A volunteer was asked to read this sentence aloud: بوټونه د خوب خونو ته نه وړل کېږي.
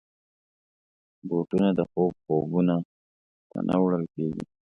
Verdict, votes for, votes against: accepted, 2, 0